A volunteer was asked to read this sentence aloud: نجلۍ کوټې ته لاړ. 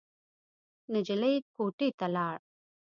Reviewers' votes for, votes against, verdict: 2, 0, accepted